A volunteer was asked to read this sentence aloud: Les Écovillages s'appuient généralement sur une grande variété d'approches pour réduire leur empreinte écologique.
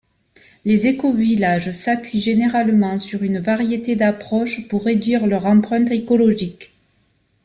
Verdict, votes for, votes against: rejected, 1, 2